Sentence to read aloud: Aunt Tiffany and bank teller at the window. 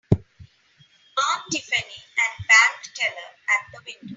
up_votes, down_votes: 0, 3